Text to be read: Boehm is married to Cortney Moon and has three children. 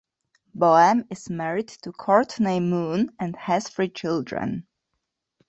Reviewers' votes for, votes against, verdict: 2, 0, accepted